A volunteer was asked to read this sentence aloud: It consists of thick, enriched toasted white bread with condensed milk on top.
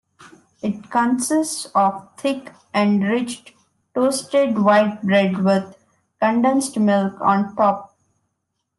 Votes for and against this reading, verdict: 1, 2, rejected